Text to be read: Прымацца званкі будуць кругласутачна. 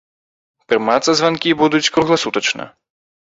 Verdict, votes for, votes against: accepted, 2, 0